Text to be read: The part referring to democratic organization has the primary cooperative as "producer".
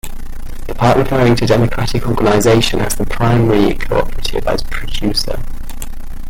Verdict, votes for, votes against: accepted, 2, 1